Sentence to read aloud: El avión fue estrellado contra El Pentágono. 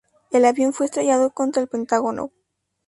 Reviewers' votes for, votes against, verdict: 2, 2, rejected